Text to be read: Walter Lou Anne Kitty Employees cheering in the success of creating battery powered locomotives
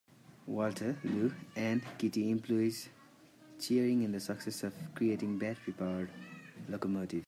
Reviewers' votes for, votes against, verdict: 0, 3, rejected